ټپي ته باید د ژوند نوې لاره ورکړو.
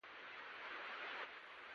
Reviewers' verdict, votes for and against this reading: rejected, 0, 2